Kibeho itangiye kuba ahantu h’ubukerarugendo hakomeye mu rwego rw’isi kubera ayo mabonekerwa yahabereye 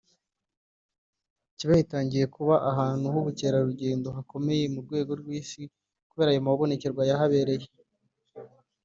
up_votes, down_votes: 3, 1